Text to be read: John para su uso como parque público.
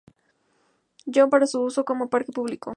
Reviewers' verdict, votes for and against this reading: accepted, 2, 0